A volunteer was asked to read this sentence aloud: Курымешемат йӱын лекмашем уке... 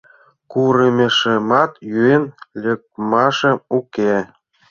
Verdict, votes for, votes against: rejected, 0, 2